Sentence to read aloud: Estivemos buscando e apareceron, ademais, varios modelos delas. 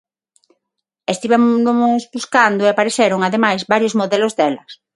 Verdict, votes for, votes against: rejected, 0, 6